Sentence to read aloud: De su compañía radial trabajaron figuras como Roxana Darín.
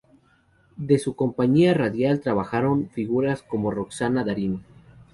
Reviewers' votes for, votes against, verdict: 2, 0, accepted